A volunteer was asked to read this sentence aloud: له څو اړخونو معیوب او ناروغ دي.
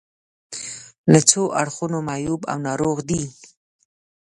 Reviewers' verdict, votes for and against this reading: accepted, 2, 0